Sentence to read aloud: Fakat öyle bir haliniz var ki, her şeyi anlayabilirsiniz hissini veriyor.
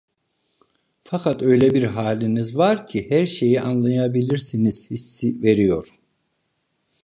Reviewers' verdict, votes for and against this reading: rejected, 0, 2